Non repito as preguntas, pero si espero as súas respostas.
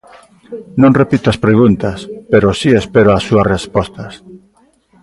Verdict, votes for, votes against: accepted, 2, 0